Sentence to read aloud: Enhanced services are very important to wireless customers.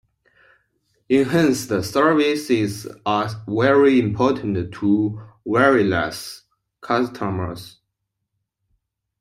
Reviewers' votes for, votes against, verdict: 0, 2, rejected